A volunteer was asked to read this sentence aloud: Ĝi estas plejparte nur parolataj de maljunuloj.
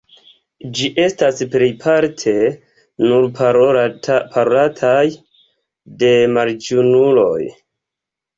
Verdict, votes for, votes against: accepted, 2, 0